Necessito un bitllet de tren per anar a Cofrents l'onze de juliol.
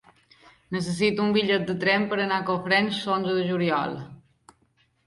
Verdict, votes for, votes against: rejected, 0, 2